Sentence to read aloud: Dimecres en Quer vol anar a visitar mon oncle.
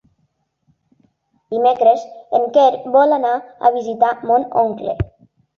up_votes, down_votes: 3, 0